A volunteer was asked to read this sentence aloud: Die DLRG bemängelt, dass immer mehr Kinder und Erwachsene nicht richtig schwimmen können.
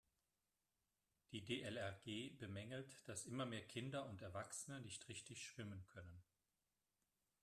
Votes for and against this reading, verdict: 3, 0, accepted